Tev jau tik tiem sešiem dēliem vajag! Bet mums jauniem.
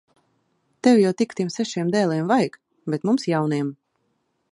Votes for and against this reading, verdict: 0, 2, rejected